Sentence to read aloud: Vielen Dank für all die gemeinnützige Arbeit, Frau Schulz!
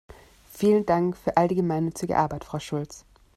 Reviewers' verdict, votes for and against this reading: accepted, 2, 0